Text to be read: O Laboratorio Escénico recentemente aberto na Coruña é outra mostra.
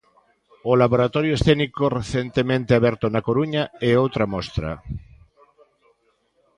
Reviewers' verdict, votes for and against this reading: rejected, 0, 2